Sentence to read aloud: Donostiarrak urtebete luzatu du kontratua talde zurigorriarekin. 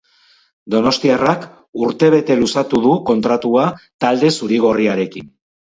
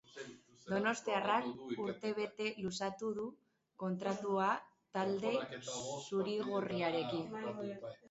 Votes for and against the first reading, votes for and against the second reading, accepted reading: 2, 0, 1, 2, first